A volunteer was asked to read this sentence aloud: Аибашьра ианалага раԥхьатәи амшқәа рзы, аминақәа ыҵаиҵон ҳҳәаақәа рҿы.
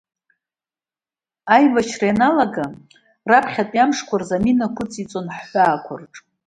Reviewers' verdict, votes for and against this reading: rejected, 1, 2